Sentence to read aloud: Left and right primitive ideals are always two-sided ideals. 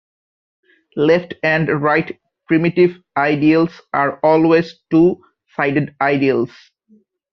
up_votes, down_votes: 3, 0